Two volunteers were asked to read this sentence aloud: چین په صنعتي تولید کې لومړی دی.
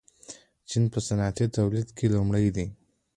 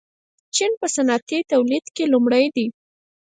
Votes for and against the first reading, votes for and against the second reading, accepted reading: 2, 1, 2, 4, first